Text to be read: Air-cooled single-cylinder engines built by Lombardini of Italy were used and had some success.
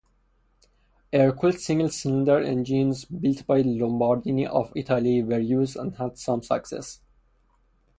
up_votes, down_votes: 0, 2